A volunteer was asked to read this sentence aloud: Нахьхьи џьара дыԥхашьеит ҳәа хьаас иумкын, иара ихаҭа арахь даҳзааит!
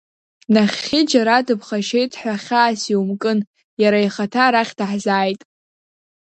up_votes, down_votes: 1, 2